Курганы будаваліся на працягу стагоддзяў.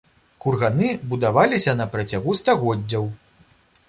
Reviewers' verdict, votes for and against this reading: accepted, 2, 0